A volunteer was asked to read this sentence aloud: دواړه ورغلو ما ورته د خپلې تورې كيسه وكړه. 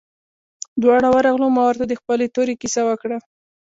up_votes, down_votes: 1, 2